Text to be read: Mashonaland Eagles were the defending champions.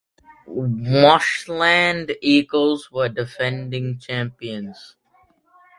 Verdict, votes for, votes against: accepted, 2, 1